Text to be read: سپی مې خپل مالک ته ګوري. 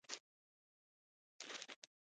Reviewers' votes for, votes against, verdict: 0, 2, rejected